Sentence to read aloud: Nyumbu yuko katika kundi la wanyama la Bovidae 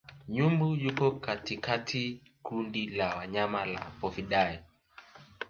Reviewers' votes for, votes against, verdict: 0, 2, rejected